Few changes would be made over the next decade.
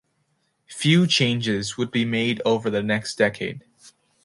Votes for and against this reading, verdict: 2, 0, accepted